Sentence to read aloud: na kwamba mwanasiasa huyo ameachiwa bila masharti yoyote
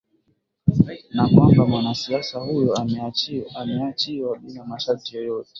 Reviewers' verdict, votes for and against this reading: rejected, 0, 2